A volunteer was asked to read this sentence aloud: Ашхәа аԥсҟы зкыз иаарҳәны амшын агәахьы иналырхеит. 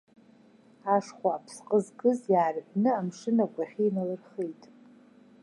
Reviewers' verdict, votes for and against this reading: accepted, 2, 0